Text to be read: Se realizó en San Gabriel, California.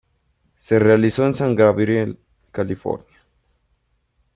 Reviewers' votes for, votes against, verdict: 2, 0, accepted